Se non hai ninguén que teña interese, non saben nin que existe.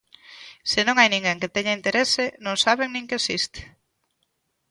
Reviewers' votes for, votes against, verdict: 2, 0, accepted